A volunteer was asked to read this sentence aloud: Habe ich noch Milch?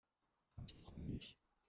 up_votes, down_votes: 0, 2